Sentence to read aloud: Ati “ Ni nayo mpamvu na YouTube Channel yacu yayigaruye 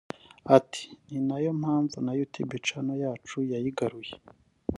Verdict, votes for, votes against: rejected, 1, 2